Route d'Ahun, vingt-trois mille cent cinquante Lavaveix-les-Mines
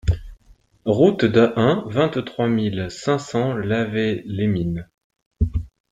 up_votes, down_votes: 0, 2